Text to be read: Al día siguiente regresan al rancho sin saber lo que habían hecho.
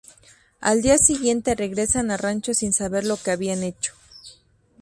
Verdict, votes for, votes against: rejected, 0, 2